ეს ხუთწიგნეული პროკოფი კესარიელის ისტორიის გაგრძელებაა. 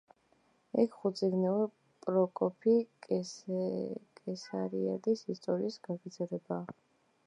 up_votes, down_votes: 0, 2